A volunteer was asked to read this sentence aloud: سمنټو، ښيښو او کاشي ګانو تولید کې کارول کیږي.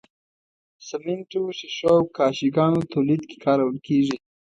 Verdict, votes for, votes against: accepted, 2, 0